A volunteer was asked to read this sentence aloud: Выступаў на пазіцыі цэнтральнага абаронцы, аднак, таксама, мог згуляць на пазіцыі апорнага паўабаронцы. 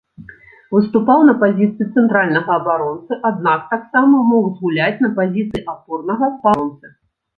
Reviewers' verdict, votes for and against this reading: rejected, 1, 2